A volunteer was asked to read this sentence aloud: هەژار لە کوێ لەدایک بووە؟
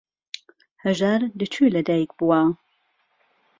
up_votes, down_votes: 2, 0